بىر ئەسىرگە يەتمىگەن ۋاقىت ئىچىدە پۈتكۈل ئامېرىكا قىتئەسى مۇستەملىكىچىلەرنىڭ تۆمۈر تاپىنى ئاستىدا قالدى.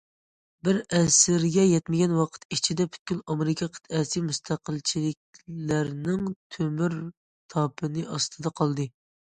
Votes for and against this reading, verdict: 1, 2, rejected